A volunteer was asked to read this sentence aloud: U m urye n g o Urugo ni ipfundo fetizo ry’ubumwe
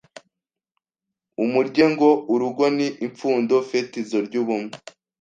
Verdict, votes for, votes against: rejected, 1, 2